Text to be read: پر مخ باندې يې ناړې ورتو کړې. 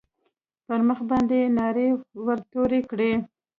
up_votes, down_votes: 1, 2